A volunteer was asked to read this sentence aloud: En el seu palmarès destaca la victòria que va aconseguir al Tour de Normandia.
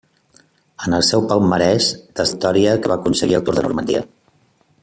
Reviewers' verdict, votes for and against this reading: rejected, 0, 2